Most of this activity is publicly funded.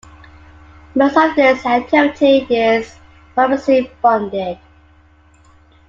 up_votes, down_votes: 1, 2